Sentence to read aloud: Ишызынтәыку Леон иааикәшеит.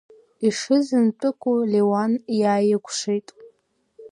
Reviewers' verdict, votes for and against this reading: rejected, 0, 2